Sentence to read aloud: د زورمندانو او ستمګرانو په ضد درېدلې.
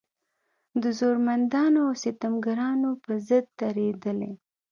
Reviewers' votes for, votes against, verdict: 2, 0, accepted